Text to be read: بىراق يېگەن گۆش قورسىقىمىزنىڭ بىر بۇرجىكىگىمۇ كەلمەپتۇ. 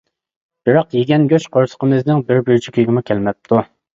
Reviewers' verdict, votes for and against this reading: accepted, 3, 1